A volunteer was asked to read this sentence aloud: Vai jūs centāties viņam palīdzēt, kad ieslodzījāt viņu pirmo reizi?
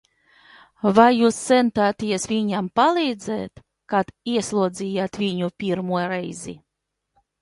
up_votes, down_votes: 2, 0